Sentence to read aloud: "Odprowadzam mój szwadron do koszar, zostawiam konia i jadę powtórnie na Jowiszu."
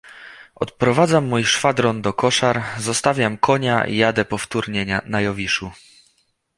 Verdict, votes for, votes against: rejected, 1, 2